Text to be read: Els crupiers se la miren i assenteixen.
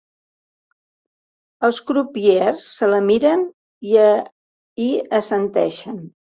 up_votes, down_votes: 0, 2